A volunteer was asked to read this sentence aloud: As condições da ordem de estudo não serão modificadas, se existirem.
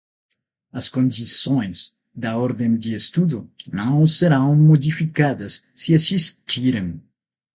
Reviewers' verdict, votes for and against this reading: accepted, 6, 0